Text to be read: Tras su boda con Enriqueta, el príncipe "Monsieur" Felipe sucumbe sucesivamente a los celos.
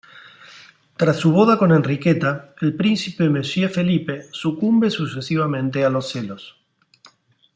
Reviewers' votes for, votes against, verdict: 2, 0, accepted